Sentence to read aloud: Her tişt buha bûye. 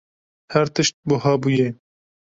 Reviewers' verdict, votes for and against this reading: accepted, 2, 0